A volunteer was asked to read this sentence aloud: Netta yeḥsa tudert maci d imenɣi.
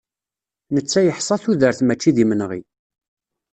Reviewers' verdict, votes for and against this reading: rejected, 1, 2